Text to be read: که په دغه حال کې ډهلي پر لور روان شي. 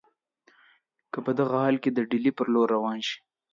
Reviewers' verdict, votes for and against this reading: accepted, 2, 0